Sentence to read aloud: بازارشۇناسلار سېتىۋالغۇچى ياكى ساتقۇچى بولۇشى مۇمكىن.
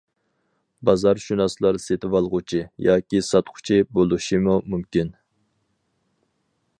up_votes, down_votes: 2, 4